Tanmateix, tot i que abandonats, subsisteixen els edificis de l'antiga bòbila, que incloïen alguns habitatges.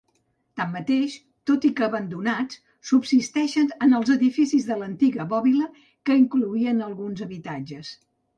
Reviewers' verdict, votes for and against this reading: rejected, 1, 2